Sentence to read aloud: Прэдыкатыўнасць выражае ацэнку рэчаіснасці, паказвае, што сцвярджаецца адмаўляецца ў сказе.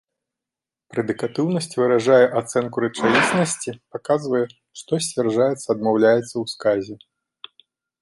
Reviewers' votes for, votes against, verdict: 1, 2, rejected